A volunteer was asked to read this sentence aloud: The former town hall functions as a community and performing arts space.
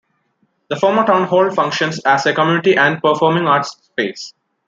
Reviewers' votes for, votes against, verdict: 2, 0, accepted